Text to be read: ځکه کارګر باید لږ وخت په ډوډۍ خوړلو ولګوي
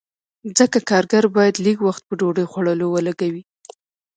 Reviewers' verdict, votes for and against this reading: accepted, 2, 0